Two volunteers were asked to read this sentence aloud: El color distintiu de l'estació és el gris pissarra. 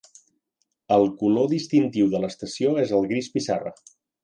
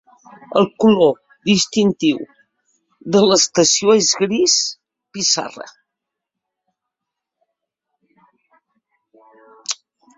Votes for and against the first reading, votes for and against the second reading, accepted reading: 3, 0, 0, 2, first